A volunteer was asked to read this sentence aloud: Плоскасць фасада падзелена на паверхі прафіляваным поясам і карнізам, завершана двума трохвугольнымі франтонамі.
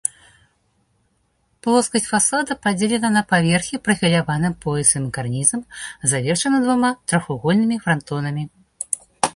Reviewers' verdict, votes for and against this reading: accepted, 2, 1